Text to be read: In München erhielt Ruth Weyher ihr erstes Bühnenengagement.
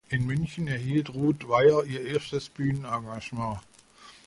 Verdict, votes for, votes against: accepted, 2, 0